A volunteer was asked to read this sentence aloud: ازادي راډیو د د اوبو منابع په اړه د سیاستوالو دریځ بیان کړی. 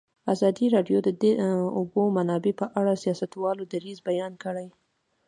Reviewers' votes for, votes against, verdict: 2, 0, accepted